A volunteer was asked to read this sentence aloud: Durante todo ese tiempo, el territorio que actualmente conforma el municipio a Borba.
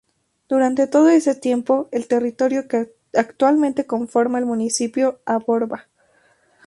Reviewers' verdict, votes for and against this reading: accepted, 2, 0